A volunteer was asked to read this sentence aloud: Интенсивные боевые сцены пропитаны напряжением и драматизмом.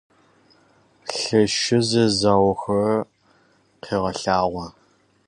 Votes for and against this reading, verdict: 0, 2, rejected